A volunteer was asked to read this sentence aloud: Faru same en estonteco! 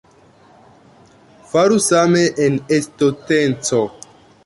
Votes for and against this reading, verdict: 0, 2, rejected